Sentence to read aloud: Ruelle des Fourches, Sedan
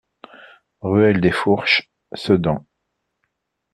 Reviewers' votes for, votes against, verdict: 2, 0, accepted